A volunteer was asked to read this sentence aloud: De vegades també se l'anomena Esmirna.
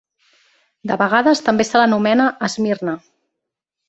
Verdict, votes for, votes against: accepted, 3, 0